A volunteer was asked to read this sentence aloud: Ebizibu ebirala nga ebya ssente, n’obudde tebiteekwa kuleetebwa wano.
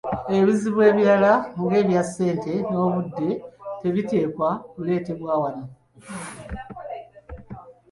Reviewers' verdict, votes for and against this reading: accepted, 2, 0